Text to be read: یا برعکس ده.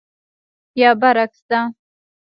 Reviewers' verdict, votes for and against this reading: rejected, 0, 2